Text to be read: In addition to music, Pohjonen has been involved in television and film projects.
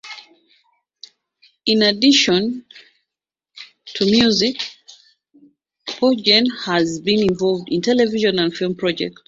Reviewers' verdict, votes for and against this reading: rejected, 0, 2